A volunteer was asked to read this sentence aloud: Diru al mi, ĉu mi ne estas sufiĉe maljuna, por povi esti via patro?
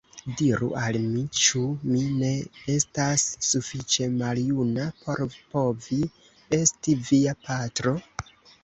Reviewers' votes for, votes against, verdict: 1, 2, rejected